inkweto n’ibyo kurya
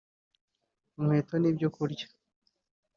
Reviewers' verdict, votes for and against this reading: accepted, 2, 1